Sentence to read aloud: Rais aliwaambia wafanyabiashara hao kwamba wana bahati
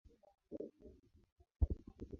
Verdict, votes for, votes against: rejected, 4, 37